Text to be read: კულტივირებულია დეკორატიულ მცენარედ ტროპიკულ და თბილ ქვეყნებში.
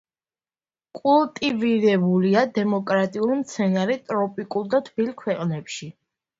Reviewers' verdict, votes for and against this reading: rejected, 1, 2